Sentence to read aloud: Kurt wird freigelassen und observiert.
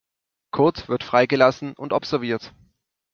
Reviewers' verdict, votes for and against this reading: accepted, 2, 0